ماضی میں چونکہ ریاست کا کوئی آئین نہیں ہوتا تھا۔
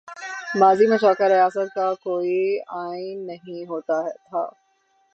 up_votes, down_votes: 18, 0